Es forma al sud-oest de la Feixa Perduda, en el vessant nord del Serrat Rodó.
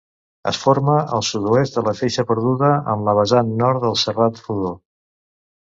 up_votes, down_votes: 1, 2